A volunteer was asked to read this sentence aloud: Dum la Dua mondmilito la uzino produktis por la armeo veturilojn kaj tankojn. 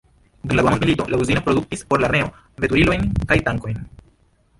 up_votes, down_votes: 1, 2